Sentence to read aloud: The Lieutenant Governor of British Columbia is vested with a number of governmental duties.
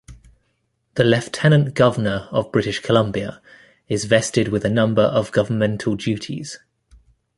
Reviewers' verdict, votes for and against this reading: rejected, 1, 2